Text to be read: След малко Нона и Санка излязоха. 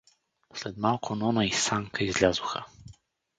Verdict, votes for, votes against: accepted, 4, 0